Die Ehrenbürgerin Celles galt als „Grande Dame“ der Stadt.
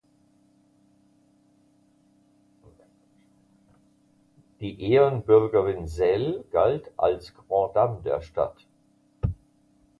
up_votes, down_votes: 1, 2